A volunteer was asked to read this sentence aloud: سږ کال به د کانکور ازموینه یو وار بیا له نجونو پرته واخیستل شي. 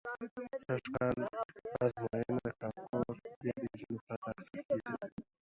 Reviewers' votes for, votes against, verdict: 0, 2, rejected